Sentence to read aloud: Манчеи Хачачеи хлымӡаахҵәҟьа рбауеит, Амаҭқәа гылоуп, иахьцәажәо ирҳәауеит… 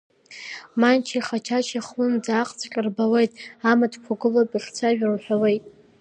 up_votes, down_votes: 1, 2